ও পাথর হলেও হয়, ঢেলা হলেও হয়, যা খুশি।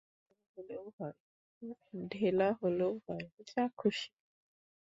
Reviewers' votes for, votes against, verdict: 0, 2, rejected